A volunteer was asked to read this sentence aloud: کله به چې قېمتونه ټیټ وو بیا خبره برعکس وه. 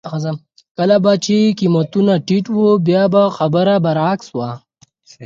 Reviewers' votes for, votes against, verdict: 4, 2, accepted